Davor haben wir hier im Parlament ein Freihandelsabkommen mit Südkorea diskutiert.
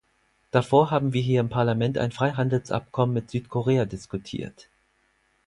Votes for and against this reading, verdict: 4, 0, accepted